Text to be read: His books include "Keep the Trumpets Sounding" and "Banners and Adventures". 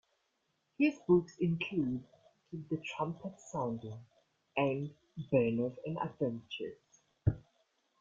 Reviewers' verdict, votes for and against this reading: accepted, 2, 1